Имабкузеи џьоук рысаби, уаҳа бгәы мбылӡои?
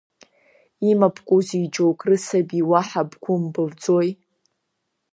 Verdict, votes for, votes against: accepted, 2, 0